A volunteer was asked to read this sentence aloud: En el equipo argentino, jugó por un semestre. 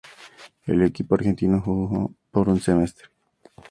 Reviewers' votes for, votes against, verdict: 2, 0, accepted